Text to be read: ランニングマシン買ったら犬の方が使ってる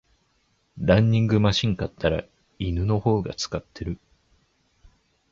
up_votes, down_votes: 2, 0